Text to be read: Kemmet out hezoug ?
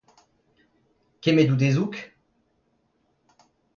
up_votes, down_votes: 2, 0